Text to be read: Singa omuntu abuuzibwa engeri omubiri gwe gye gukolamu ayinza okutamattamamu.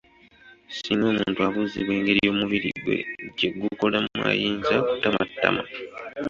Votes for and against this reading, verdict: 2, 0, accepted